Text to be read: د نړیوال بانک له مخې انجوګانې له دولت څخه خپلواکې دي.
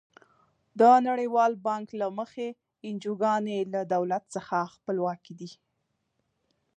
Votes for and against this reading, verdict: 2, 0, accepted